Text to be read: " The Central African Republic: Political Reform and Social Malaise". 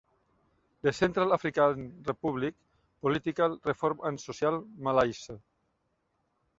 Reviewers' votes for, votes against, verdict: 1, 2, rejected